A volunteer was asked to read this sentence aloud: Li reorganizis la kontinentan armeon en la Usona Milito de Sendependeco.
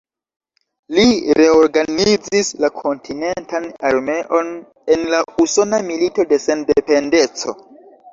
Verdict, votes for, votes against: accepted, 2, 0